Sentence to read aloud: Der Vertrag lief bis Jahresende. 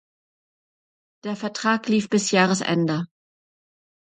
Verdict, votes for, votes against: accepted, 2, 0